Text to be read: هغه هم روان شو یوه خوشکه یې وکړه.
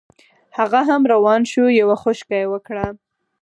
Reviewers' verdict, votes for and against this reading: accepted, 4, 0